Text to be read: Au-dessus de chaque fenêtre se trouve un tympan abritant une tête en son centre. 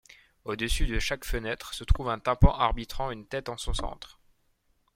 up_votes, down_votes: 0, 2